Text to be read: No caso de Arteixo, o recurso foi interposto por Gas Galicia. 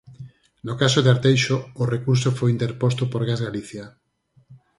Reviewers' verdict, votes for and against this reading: accepted, 4, 0